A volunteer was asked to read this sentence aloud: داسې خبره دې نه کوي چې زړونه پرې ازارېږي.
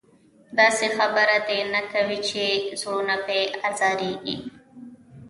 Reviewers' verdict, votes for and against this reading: rejected, 1, 2